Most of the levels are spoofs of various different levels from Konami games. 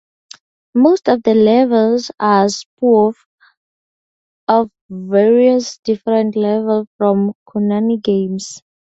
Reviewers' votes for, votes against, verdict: 0, 2, rejected